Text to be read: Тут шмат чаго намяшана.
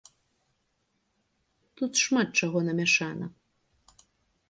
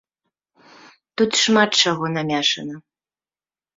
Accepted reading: first